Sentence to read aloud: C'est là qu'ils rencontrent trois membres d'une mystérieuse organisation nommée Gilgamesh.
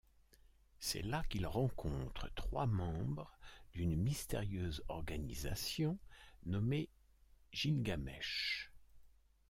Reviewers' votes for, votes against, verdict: 2, 0, accepted